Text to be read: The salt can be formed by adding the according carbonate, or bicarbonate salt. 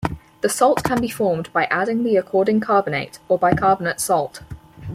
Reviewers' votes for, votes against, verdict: 4, 2, accepted